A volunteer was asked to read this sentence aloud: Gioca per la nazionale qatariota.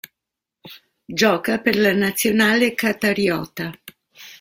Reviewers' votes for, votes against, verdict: 3, 0, accepted